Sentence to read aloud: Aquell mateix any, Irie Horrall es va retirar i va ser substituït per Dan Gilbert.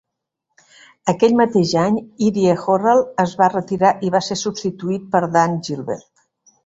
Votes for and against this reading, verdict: 2, 0, accepted